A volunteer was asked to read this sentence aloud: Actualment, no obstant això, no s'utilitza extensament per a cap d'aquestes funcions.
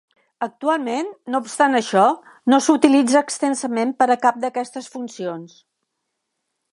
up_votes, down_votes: 3, 0